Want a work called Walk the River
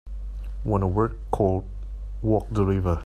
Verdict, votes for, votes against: accepted, 2, 1